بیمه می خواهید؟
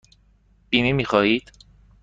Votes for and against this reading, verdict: 2, 0, accepted